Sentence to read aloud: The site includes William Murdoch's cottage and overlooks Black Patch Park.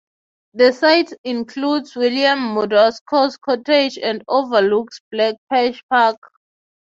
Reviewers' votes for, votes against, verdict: 3, 0, accepted